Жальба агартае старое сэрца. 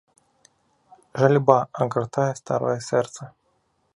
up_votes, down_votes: 1, 2